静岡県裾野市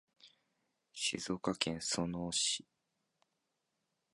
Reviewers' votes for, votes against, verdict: 1, 2, rejected